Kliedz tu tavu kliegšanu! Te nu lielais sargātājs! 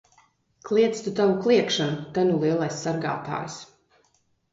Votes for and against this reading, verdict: 2, 0, accepted